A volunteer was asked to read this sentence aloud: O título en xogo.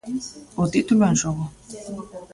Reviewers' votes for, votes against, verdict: 0, 2, rejected